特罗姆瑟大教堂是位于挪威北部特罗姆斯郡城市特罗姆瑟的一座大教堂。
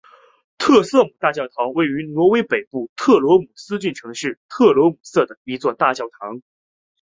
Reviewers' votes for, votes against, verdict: 3, 0, accepted